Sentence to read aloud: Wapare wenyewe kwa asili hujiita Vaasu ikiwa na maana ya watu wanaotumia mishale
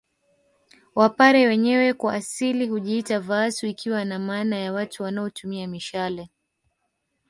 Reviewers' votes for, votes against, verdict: 0, 2, rejected